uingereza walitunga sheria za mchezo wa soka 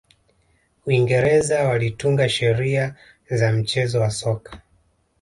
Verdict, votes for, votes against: rejected, 1, 2